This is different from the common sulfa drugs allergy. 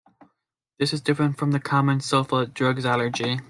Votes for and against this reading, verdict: 2, 0, accepted